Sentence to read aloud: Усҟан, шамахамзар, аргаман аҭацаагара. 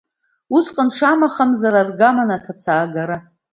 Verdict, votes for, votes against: accepted, 2, 0